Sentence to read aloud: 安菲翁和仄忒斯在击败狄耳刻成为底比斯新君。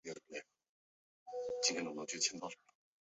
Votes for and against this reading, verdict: 0, 2, rejected